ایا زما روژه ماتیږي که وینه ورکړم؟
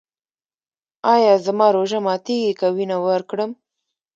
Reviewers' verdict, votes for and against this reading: accepted, 2, 0